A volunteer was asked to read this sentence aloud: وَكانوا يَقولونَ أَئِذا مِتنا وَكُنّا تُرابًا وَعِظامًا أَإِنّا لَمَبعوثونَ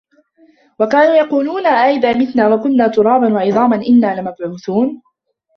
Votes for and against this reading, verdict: 0, 2, rejected